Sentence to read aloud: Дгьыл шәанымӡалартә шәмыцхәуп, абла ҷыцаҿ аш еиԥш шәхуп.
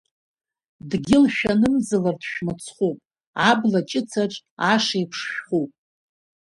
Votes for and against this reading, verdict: 2, 0, accepted